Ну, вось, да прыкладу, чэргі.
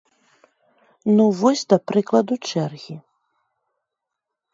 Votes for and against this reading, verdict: 2, 0, accepted